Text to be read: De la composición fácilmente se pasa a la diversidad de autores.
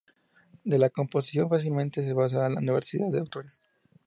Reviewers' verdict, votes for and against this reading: accepted, 2, 0